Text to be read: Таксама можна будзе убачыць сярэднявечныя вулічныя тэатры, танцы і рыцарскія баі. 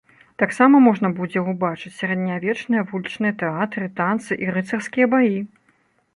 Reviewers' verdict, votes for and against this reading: accepted, 2, 0